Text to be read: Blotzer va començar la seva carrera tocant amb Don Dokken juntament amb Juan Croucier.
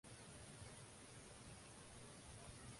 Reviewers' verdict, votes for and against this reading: rejected, 0, 2